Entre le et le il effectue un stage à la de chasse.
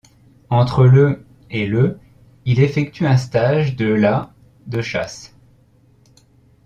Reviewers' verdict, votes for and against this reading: rejected, 1, 2